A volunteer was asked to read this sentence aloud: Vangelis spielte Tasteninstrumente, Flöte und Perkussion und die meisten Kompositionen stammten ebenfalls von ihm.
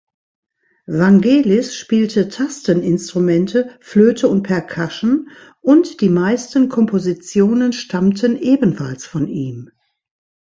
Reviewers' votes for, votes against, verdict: 1, 2, rejected